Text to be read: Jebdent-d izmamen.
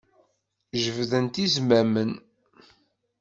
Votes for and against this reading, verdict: 1, 2, rejected